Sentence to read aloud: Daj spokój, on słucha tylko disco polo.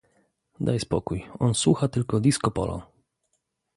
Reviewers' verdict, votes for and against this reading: accepted, 2, 0